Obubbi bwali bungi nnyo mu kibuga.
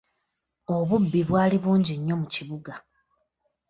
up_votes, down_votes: 2, 0